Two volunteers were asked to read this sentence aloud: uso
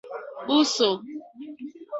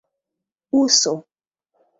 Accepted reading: second